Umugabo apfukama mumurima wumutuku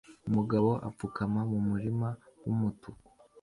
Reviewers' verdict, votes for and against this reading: accepted, 2, 0